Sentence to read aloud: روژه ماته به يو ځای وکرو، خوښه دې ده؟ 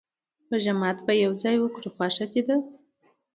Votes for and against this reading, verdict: 2, 1, accepted